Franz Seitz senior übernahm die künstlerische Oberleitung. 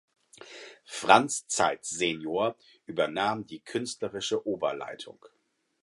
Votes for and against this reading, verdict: 0, 4, rejected